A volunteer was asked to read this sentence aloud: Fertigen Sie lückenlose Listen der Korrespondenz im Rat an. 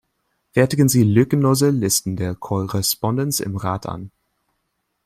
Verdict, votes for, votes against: rejected, 1, 2